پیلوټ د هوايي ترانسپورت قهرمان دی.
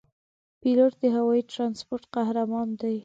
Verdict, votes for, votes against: accepted, 2, 0